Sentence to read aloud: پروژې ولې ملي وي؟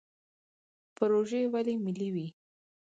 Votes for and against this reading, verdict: 4, 0, accepted